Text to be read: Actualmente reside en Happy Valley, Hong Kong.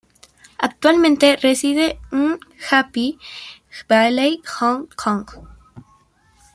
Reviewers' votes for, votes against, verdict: 1, 2, rejected